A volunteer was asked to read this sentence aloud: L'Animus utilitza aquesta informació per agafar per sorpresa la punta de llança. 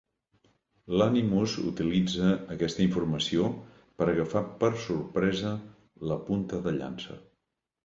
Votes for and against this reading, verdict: 2, 0, accepted